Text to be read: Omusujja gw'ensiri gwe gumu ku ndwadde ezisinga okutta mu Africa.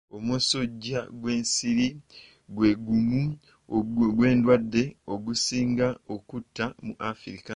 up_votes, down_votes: 1, 2